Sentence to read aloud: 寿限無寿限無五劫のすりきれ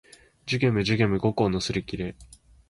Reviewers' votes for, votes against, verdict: 2, 0, accepted